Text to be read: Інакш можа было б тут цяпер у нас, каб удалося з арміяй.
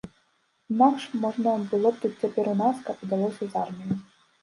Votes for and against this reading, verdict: 1, 2, rejected